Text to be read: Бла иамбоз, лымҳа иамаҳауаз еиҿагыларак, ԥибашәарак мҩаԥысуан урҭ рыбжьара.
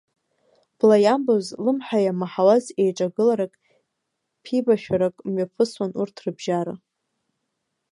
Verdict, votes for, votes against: accepted, 2, 1